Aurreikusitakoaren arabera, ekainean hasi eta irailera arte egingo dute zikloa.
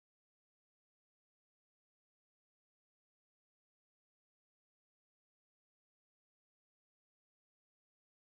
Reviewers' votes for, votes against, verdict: 0, 2, rejected